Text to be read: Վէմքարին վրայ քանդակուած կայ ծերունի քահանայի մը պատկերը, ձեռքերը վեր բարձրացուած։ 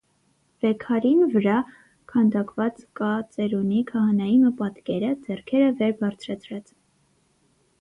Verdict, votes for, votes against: rejected, 3, 6